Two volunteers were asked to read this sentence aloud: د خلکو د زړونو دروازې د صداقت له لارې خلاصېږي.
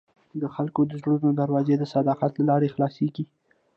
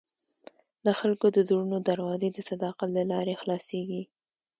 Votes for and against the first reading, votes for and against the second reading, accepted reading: 1, 2, 2, 0, second